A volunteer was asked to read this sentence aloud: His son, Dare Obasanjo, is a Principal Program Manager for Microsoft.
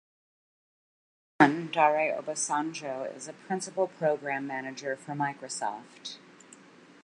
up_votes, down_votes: 0, 2